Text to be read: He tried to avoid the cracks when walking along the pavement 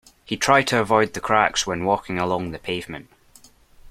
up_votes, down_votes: 2, 0